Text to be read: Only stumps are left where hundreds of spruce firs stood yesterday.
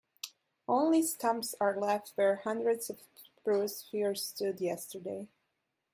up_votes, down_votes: 0, 2